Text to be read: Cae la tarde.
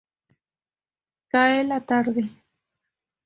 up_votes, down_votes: 2, 0